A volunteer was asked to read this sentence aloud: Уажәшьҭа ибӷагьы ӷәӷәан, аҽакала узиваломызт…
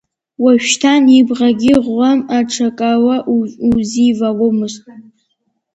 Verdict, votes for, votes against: rejected, 1, 2